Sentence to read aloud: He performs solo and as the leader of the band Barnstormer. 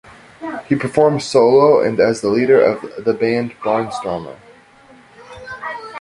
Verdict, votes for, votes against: accepted, 2, 0